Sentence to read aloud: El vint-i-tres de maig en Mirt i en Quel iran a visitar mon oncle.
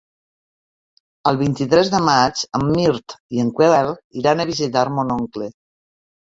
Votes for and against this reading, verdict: 1, 2, rejected